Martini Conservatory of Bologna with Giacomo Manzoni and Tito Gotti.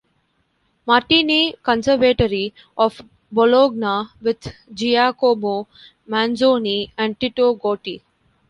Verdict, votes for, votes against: rejected, 2, 3